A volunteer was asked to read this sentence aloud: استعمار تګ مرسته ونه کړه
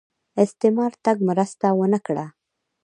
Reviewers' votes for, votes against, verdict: 1, 2, rejected